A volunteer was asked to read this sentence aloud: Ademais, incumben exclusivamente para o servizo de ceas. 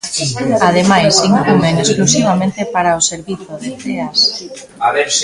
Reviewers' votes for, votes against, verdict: 0, 2, rejected